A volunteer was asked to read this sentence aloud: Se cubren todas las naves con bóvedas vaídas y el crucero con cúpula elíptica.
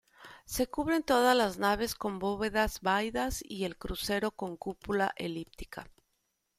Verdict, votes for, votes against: rejected, 1, 2